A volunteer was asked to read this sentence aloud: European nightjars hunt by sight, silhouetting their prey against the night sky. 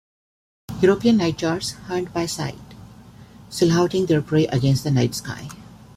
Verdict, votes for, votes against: rejected, 0, 2